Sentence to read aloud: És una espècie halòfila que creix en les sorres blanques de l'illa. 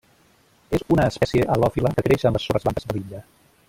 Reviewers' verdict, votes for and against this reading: rejected, 0, 2